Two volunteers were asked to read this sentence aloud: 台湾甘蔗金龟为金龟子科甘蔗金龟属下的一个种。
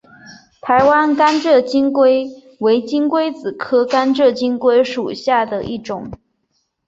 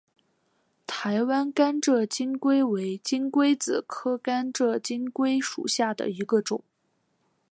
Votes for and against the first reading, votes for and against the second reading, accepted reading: 2, 3, 4, 1, second